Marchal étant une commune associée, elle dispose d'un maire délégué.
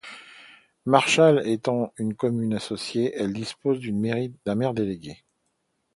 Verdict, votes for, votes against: rejected, 0, 2